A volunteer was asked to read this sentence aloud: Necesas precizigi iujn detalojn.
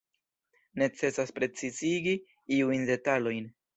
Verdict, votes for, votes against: rejected, 0, 2